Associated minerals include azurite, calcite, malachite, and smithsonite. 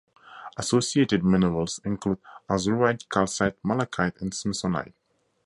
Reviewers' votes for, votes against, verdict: 4, 0, accepted